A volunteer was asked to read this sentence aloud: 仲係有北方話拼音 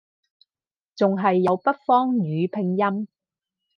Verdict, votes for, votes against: rejected, 0, 4